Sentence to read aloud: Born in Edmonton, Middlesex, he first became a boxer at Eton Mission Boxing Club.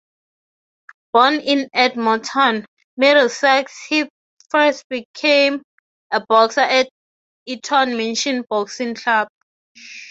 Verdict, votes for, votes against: accepted, 6, 3